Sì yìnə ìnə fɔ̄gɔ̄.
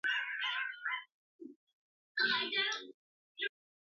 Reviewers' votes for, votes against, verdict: 0, 2, rejected